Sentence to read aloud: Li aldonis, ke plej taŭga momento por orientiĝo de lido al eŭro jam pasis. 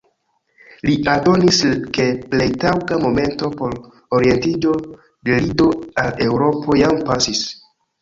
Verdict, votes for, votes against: accepted, 2, 0